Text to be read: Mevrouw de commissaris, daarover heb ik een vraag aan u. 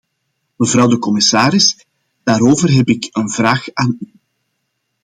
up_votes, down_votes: 1, 2